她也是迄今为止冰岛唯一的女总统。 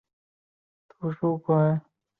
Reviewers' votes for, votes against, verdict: 1, 2, rejected